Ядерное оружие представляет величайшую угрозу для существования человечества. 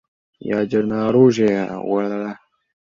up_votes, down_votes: 0, 2